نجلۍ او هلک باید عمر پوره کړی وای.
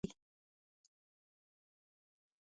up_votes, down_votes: 1, 2